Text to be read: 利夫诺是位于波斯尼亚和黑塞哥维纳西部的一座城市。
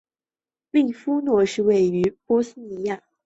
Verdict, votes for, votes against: rejected, 0, 2